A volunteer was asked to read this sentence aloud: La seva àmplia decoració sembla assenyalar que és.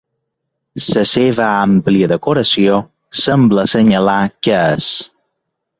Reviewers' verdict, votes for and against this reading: rejected, 0, 2